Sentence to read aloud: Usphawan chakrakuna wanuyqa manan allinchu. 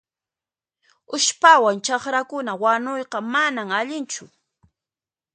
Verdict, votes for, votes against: accepted, 3, 1